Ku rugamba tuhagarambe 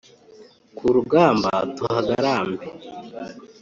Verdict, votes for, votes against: accepted, 2, 0